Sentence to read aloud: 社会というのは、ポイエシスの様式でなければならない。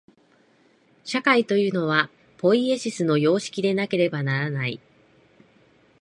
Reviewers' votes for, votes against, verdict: 2, 0, accepted